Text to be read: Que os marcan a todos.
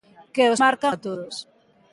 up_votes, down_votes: 1, 3